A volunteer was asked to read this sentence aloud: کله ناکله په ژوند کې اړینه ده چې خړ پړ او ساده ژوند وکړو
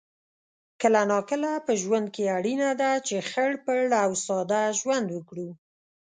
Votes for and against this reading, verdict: 2, 0, accepted